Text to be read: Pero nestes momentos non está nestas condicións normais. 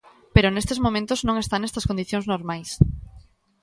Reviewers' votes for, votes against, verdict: 2, 0, accepted